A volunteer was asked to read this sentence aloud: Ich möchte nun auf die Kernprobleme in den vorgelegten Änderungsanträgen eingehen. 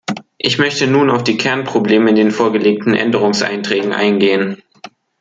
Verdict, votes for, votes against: rejected, 0, 2